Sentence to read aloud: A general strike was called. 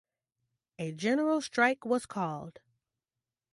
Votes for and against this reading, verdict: 1, 2, rejected